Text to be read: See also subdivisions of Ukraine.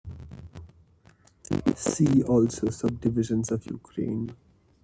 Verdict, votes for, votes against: rejected, 0, 2